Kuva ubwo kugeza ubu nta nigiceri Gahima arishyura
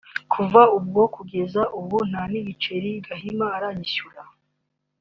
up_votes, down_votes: 2, 0